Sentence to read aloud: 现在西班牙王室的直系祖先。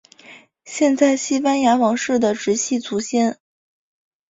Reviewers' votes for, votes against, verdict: 7, 0, accepted